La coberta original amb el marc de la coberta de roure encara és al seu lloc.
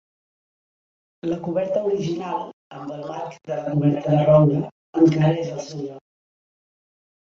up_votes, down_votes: 0, 2